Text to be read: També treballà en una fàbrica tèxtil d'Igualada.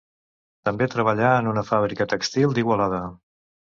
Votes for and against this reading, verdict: 1, 2, rejected